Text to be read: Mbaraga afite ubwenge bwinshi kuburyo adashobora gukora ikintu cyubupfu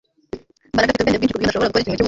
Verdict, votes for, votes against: rejected, 0, 2